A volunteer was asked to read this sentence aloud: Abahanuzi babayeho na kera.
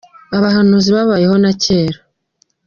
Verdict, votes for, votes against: accepted, 2, 1